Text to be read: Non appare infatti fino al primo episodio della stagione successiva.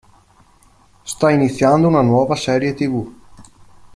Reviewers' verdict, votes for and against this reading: rejected, 0, 2